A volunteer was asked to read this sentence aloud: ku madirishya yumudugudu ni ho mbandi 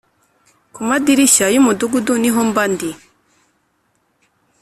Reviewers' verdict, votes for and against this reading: accepted, 3, 0